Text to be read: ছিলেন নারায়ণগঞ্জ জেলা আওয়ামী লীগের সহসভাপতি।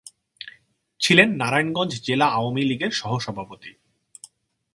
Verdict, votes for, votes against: accepted, 2, 0